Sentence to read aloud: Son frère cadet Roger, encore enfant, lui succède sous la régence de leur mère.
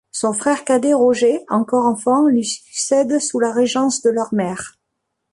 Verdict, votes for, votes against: accepted, 2, 0